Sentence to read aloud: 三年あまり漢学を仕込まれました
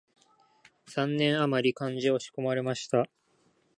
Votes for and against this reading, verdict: 2, 1, accepted